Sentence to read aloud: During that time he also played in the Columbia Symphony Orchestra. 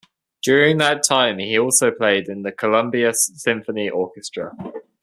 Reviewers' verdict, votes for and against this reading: accepted, 2, 0